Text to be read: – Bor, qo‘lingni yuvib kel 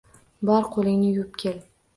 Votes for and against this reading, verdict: 2, 0, accepted